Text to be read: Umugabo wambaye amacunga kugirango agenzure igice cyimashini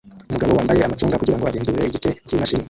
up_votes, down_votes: 0, 2